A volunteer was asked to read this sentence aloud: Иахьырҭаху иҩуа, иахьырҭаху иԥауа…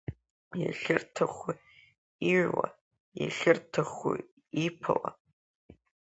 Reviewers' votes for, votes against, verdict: 3, 1, accepted